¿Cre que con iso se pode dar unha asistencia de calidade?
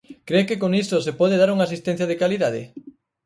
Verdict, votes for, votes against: rejected, 4, 6